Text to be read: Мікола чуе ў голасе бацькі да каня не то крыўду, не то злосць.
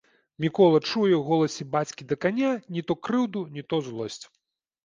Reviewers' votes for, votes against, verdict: 2, 0, accepted